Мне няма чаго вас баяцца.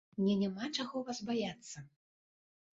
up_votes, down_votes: 2, 0